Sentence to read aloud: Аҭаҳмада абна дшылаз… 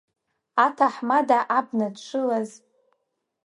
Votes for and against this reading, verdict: 2, 1, accepted